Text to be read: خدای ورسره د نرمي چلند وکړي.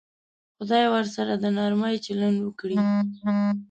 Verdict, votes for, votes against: rejected, 0, 2